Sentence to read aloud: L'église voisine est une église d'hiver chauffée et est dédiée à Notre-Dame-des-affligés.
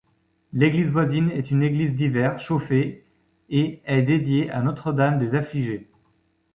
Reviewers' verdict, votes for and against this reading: accepted, 2, 0